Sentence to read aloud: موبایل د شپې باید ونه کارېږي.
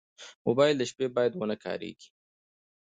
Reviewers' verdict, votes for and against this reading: rejected, 1, 2